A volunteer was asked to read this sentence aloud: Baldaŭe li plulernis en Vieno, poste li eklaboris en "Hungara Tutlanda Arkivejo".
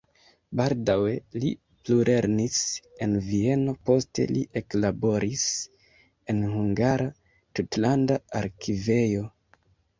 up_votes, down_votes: 2, 1